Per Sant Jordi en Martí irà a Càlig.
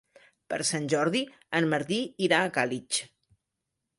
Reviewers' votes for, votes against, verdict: 0, 2, rejected